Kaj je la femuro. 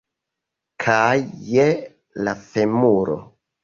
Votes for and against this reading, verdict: 0, 2, rejected